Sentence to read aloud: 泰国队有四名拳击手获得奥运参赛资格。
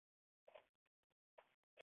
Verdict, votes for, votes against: rejected, 3, 4